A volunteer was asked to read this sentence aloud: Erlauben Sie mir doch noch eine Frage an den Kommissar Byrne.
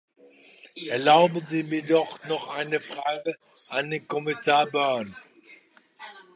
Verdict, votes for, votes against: accepted, 2, 0